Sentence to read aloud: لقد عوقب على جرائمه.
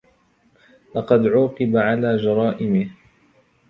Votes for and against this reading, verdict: 2, 0, accepted